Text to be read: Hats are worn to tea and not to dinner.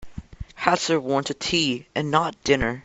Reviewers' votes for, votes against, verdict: 1, 2, rejected